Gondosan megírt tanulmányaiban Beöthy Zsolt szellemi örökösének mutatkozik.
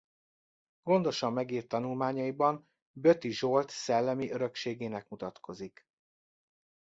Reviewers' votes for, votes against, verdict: 0, 2, rejected